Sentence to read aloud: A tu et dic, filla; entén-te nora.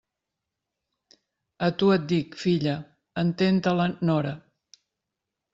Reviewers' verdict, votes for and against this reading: rejected, 0, 2